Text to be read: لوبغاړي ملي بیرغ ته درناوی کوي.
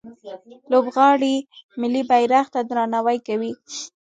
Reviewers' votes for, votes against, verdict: 2, 0, accepted